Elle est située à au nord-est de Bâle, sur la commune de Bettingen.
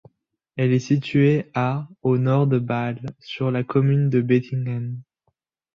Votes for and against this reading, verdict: 0, 2, rejected